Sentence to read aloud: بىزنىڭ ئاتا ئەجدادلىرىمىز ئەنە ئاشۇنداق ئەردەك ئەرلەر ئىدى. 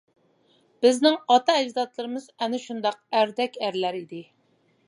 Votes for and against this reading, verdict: 1, 2, rejected